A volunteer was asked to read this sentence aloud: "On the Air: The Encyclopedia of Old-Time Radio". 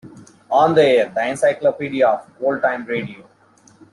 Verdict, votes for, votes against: accepted, 2, 0